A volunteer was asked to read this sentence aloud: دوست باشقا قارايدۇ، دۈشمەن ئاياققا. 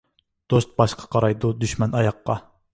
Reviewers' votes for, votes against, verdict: 2, 0, accepted